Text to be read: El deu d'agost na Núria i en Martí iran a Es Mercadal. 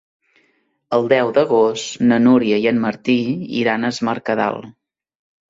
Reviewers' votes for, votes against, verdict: 3, 0, accepted